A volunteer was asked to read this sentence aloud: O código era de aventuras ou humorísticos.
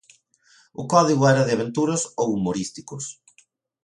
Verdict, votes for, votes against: accepted, 2, 0